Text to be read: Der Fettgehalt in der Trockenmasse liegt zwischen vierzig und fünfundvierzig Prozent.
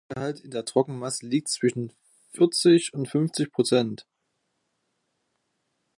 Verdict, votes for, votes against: rejected, 0, 2